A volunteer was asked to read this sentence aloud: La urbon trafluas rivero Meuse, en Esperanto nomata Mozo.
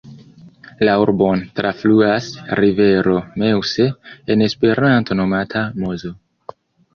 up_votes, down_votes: 2, 1